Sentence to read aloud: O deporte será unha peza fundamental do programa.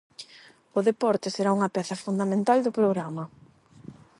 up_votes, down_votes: 8, 0